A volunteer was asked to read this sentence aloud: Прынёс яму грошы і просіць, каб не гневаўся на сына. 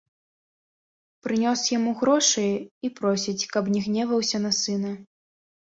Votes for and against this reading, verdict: 2, 0, accepted